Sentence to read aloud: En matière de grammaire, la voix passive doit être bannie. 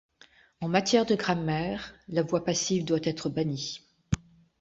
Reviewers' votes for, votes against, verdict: 3, 0, accepted